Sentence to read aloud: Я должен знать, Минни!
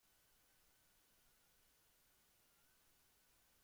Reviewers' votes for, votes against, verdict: 0, 2, rejected